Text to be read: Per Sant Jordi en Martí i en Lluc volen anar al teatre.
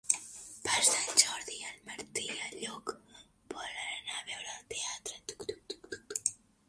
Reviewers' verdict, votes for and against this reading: rejected, 0, 2